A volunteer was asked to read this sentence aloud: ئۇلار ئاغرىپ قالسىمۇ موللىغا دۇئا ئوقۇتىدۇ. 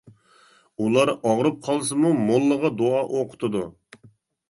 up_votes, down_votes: 2, 0